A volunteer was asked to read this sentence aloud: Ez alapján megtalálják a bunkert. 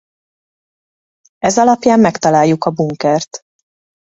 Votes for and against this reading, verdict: 0, 2, rejected